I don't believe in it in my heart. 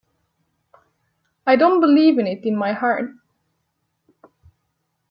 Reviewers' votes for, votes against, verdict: 2, 0, accepted